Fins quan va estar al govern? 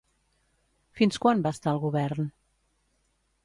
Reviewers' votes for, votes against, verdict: 2, 0, accepted